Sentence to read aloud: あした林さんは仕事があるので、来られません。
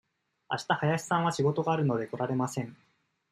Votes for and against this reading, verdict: 2, 0, accepted